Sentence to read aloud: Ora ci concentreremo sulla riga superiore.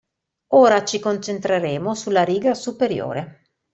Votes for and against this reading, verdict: 2, 0, accepted